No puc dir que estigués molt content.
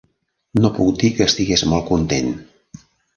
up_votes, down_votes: 3, 0